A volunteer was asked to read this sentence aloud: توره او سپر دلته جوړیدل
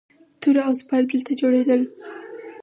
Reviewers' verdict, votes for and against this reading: accepted, 4, 0